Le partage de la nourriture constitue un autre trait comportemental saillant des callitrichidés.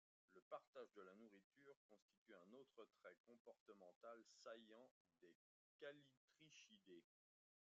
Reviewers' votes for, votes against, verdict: 0, 2, rejected